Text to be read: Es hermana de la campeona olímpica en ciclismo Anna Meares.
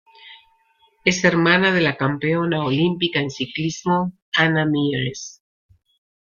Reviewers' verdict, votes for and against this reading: accepted, 2, 1